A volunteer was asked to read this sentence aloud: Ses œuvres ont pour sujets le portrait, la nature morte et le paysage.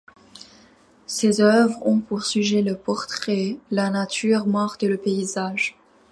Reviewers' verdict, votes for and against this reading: accepted, 2, 0